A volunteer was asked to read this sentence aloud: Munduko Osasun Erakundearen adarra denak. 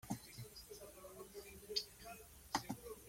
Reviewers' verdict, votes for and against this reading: rejected, 0, 2